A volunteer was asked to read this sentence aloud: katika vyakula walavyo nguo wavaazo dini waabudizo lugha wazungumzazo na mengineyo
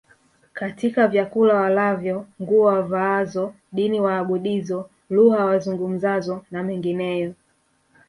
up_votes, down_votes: 0, 2